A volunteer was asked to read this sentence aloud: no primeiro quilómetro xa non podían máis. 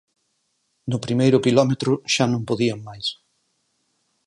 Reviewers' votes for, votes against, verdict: 4, 2, accepted